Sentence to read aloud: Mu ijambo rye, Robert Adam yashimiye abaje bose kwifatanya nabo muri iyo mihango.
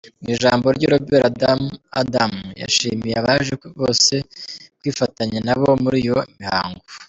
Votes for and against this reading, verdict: 1, 2, rejected